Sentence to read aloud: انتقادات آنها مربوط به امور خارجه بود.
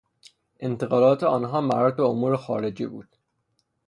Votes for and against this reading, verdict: 3, 0, accepted